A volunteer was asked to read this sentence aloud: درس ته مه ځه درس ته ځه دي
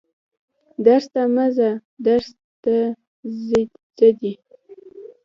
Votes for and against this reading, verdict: 2, 0, accepted